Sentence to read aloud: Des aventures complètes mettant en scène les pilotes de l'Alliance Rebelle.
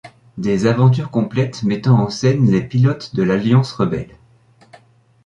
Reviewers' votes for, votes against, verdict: 2, 1, accepted